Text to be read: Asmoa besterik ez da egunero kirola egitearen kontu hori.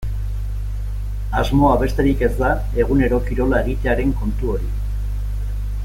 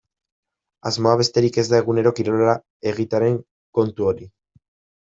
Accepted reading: first